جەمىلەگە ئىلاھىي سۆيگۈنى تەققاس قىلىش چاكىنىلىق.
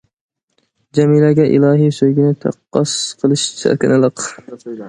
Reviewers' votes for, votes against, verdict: 2, 0, accepted